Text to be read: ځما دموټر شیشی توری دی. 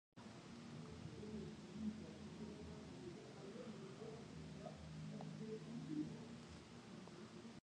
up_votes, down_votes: 0, 2